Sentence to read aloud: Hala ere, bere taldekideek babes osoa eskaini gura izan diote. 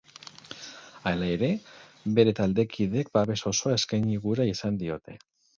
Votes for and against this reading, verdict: 0, 2, rejected